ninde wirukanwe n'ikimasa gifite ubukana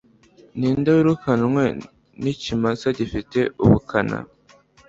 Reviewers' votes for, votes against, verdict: 2, 0, accepted